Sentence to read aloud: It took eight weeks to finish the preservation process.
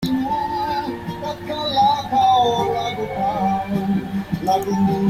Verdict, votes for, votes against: rejected, 0, 2